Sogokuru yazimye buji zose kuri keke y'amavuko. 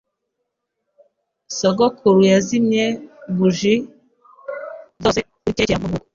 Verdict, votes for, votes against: rejected, 1, 2